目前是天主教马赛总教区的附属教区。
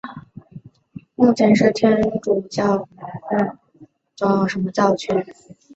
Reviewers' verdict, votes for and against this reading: rejected, 1, 3